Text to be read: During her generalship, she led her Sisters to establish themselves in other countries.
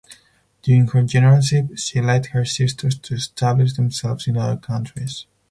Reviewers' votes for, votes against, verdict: 0, 4, rejected